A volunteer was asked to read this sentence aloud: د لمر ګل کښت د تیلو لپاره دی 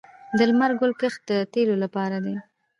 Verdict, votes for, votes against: accepted, 2, 0